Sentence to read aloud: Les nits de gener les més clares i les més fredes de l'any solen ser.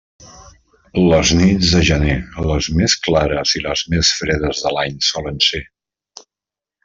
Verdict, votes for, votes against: accepted, 3, 0